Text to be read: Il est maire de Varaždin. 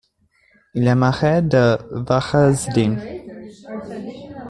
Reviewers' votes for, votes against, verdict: 0, 2, rejected